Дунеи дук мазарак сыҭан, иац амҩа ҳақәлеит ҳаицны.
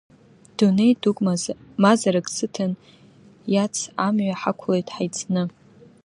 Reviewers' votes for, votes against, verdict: 1, 2, rejected